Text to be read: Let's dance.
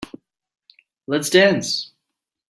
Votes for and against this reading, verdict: 3, 0, accepted